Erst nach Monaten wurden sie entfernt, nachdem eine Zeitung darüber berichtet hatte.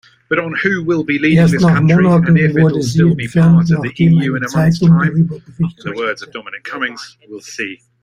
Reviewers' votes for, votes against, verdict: 1, 2, rejected